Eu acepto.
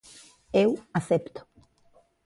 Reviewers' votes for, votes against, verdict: 2, 1, accepted